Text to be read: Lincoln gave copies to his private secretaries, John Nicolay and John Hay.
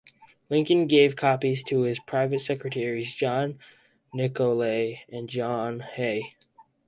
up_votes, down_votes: 4, 0